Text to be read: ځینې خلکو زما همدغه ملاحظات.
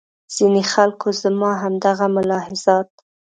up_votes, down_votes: 2, 0